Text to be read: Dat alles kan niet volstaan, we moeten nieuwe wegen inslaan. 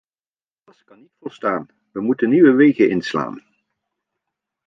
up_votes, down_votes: 1, 2